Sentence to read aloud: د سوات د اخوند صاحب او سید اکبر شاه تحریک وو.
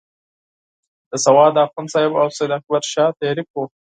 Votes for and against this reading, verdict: 4, 0, accepted